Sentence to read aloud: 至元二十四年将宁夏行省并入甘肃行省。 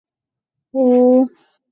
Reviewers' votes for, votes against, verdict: 1, 4, rejected